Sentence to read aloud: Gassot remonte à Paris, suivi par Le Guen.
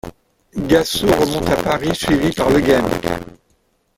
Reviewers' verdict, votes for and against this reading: rejected, 1, 2